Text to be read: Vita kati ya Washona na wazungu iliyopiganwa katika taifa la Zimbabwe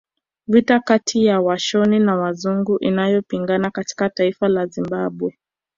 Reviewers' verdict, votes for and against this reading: rejected, 1, 2